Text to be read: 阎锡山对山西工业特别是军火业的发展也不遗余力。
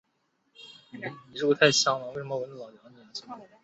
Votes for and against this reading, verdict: 0, 2, rejected